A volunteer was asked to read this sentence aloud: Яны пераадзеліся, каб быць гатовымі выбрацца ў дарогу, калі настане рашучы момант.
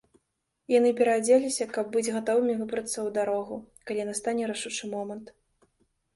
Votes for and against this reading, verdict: 2, 0, accepted